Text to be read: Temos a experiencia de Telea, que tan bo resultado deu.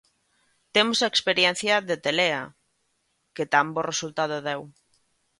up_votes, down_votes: 2, 0